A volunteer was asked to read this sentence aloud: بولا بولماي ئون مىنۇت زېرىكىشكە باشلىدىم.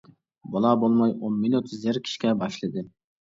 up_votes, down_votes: 0, 2